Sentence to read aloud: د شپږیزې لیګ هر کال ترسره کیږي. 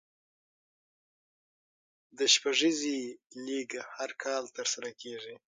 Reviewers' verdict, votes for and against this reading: accepted, 6, 0